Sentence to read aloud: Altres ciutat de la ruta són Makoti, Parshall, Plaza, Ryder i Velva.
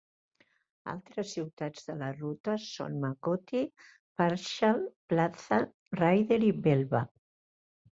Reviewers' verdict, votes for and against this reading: rejected, 1, 2